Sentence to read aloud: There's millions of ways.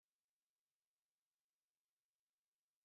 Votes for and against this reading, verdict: 0, 2, rejected